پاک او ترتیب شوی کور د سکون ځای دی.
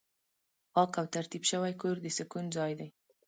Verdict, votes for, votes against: accepted, 2, 0